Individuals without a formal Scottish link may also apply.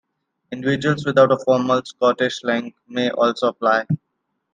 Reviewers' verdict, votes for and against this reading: accepted, 2, 0